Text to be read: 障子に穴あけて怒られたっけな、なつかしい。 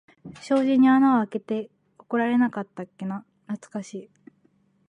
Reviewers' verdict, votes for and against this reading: rejected, 1, 2